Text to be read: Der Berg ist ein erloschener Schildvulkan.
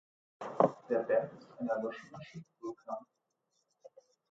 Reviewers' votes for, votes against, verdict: 1, 2, rejected